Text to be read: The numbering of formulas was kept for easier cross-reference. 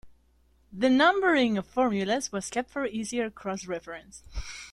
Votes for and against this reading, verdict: 2, 0, accepted